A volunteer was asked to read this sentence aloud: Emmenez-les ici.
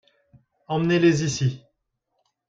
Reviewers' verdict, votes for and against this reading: accepted, 2, 0